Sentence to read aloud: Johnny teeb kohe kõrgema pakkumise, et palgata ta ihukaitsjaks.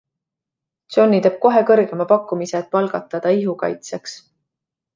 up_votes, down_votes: 2, 0